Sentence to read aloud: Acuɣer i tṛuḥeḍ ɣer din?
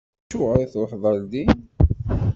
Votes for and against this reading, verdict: 1, 2, rejected